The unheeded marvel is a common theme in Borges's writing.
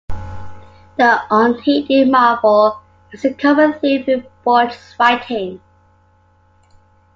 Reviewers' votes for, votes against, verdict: 2, 1, accepted